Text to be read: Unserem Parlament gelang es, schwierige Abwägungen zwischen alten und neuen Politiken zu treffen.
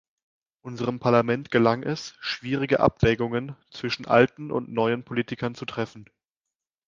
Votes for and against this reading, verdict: 0, 2, rejected